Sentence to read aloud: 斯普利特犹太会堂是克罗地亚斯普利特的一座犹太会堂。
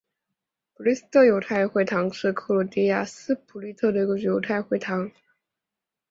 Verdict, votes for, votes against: accepted, 2, 0